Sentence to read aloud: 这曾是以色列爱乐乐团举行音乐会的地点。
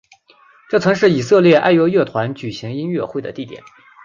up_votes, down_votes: 2, 0